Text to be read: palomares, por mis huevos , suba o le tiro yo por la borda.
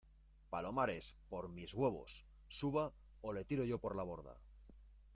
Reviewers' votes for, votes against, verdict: 2, 0, accepted